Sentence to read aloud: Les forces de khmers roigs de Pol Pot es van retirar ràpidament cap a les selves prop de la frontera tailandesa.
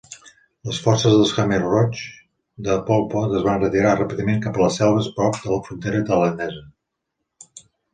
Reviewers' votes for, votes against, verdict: 0, 2, rejected